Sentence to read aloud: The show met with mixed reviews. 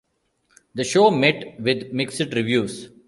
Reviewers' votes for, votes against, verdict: 0, 2, rejected